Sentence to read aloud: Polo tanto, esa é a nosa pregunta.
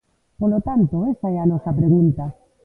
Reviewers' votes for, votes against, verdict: 2, 0, accepted